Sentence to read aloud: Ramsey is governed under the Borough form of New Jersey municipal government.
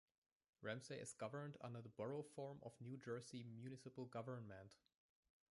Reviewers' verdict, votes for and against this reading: rejected, 1, 2